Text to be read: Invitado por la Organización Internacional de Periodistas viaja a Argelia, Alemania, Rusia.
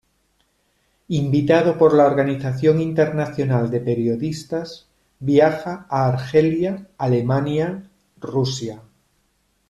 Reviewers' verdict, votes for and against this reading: accepted, 2, 0